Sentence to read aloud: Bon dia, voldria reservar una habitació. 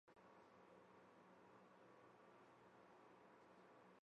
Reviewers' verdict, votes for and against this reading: rejected, 1, 4